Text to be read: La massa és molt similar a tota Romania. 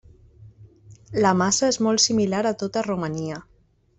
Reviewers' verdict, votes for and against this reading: accepted, 3, 1